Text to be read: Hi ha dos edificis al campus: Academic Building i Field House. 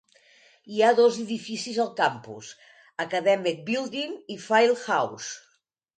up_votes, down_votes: 2, 1